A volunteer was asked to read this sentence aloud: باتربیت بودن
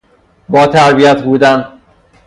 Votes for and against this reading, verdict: 0, 3, rejected